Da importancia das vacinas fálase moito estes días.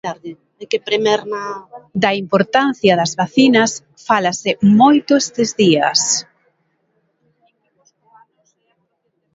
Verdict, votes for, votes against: rejected, 1, 6